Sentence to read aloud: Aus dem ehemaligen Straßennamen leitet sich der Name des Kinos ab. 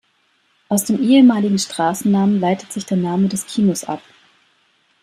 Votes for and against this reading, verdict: 2, 0, accepted